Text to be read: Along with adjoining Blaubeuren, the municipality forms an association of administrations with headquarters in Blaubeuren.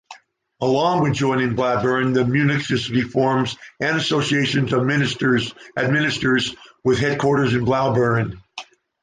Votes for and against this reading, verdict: 1, 2, rejected